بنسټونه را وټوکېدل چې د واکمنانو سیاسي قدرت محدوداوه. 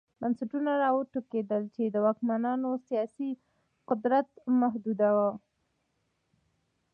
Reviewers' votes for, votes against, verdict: 1, 2, rejected